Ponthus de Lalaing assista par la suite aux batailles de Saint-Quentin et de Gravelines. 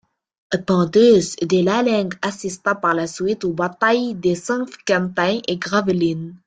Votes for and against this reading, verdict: 0, 2, rejected